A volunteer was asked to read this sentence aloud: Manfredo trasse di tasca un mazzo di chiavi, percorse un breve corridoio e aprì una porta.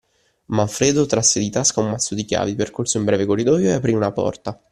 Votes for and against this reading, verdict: 2, 0, accepted